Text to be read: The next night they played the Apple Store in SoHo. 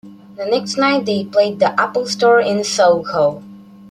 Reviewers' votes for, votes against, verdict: 2, 0, accepted